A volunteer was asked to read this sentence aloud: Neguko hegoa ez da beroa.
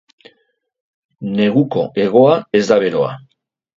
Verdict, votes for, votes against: accepted, 2, 0